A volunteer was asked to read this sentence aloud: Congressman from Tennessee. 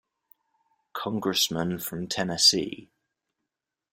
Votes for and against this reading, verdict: 2, 0, accepted